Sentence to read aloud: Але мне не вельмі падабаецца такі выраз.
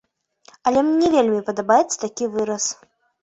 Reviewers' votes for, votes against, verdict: 0, 2, rejected